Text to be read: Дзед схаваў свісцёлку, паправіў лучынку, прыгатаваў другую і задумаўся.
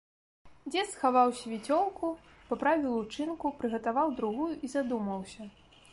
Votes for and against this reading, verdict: 0, 2, rejected